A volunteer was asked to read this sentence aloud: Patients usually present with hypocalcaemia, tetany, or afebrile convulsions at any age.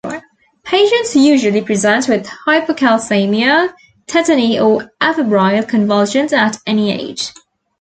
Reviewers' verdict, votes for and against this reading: accepted, 2, 0